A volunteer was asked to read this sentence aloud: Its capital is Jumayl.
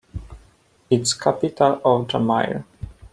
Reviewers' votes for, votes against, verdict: 1, 2, rejected